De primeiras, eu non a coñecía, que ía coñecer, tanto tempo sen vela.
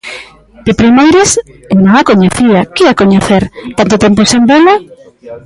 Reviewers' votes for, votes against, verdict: 0, 2, rejected